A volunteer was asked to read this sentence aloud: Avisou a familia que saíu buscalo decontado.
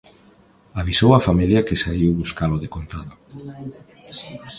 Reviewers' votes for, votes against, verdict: 2, 0, accepted